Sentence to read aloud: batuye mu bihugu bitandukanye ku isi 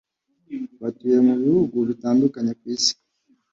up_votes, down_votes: 2, 0